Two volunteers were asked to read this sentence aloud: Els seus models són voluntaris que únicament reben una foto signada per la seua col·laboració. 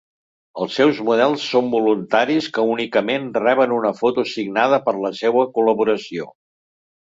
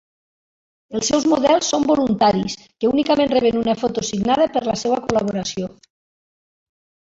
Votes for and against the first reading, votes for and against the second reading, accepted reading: 2, 0, 0, 2, first